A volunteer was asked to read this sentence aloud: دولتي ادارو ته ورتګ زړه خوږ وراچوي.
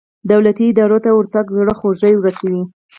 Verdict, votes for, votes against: rejected, 2, 4